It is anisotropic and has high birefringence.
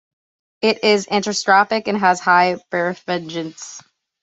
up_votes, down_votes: 1, 2